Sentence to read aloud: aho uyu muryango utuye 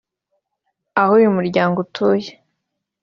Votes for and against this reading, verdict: 2, 0, accepted